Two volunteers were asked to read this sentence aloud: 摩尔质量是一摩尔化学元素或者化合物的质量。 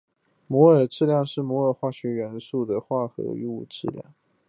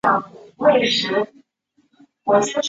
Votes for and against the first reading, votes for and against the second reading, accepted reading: 3, 1, 1, 2, first